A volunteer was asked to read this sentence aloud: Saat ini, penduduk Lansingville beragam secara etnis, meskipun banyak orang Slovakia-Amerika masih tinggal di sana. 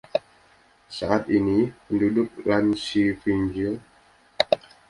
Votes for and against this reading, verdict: 0, 2, rejected